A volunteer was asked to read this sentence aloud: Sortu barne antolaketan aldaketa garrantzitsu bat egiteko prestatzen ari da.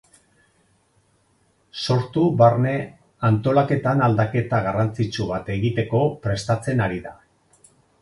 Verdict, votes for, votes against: accepted, 4, 0